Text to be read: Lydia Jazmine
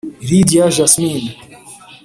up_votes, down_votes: 1, 2